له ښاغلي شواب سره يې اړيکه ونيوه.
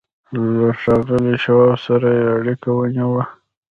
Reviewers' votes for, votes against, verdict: 2, 0, accepted